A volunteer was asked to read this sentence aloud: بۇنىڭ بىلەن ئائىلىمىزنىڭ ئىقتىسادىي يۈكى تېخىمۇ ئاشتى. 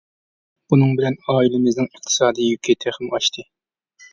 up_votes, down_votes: 3, 0